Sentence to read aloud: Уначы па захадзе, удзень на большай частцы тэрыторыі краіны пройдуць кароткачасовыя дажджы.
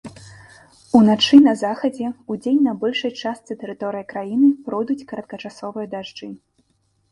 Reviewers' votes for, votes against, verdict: 0, 2, rejected